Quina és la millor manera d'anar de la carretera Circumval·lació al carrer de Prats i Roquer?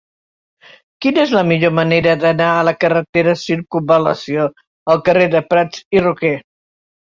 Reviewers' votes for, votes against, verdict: 0, 2, rejected